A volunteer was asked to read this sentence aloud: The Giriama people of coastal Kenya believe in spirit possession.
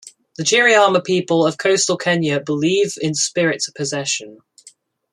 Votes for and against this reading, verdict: 2, 0, accepted